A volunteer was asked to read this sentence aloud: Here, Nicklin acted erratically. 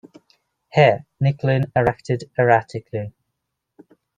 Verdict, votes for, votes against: rejected, 0, 2